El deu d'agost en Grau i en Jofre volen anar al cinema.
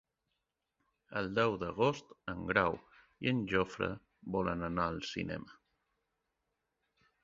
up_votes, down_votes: 2, 0